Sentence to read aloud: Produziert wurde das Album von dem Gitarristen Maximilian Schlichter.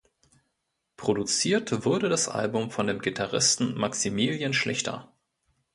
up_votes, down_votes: 1, 2